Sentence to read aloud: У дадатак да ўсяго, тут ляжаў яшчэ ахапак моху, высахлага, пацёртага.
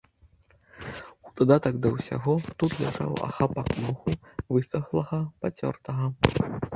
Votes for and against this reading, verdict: 1, 2, rejected